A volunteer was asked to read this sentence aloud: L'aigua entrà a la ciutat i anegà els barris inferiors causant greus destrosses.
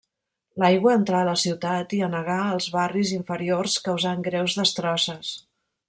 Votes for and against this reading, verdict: 2, 0, accepted